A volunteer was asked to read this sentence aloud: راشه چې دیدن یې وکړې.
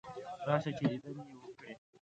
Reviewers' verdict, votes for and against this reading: rejected, 1, 2